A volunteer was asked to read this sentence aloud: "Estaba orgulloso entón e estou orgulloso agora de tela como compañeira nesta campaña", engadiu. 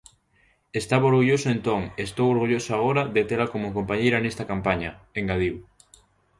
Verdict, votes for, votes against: accepted, 2, 0